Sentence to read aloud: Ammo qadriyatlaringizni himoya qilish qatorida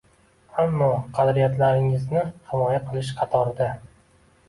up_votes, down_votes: 2, 0